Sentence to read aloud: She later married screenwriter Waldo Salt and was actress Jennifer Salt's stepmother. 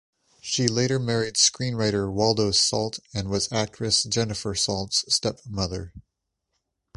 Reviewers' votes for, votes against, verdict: 2, 0, accepted